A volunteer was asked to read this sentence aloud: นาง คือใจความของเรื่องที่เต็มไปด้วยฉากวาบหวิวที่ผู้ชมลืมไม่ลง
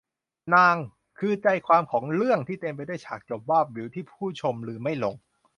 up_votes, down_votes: 0, 2